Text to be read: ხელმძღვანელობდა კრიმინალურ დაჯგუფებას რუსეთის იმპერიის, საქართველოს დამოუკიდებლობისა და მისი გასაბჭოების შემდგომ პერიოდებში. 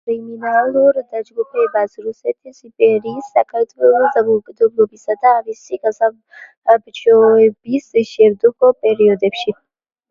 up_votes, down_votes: 0, 2